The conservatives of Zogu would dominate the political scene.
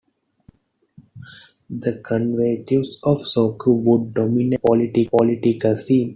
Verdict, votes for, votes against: rejected, 0, 2